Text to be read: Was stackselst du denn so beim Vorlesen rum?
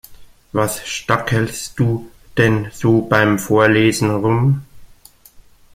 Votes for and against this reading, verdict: 2, 0, accepted